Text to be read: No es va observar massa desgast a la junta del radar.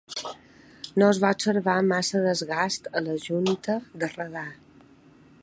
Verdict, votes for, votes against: rejected, 1, 2